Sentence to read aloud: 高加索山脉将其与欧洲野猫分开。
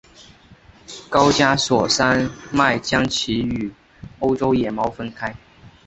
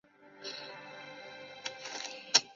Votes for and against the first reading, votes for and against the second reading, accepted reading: 2, 0, 0, 2, first